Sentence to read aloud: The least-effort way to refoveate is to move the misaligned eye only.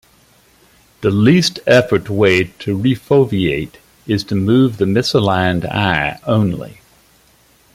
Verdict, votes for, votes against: accepted, 2, 1